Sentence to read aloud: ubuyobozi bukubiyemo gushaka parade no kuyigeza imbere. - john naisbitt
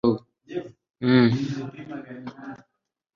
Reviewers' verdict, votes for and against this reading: accepted, 2, 1